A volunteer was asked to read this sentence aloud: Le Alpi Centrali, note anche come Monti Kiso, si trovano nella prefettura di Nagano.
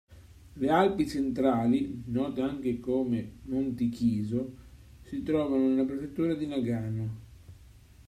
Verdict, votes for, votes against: accepted, 2, 0